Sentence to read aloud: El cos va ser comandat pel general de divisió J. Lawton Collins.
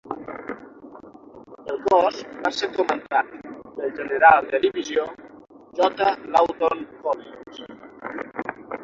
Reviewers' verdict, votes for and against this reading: rejected, 0, 6